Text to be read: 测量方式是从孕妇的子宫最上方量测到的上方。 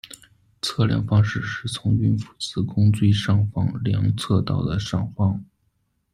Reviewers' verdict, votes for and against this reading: rejected, 1, 2